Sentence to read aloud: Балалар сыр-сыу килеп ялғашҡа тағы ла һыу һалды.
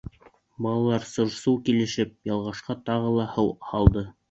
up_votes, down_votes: 1, 2